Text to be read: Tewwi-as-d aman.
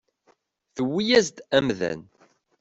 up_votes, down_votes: 0, 2